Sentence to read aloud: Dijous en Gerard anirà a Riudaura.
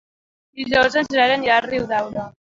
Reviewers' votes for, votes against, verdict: 2, 3, rejected